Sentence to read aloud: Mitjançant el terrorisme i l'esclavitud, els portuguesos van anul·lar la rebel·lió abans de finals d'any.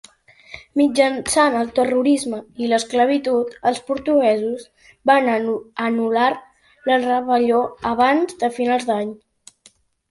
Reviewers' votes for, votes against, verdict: 1, 2, rejected